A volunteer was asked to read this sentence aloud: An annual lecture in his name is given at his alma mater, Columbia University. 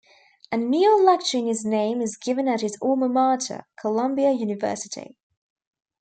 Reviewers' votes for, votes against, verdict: 0, 2, rejected